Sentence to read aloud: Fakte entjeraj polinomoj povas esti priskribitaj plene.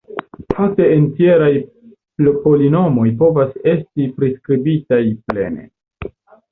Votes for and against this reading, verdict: 1, 2, rejected